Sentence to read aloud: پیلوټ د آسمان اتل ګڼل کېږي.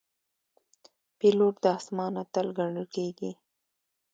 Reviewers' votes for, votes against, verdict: 2, 0, accepted